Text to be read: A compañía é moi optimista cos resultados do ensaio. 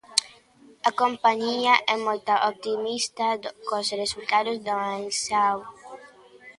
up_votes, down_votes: 0, 2